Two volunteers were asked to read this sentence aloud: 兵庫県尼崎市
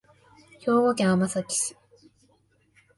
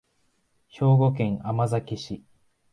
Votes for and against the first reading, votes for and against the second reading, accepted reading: 0, 2, 2, 0, second